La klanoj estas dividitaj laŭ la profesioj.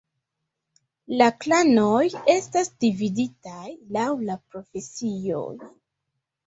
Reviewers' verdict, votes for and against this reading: accepted, 2, 0